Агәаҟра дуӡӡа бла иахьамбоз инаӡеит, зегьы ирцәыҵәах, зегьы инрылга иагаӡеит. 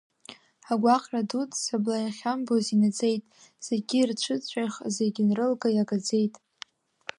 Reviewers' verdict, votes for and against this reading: rejected, 0, 2